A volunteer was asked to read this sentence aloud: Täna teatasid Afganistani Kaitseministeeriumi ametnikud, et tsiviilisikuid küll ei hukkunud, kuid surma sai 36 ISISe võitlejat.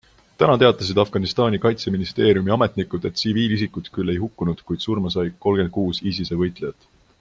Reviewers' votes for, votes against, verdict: 0, 2, rejected